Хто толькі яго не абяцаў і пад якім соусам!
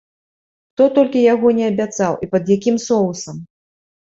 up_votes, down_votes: 2, 0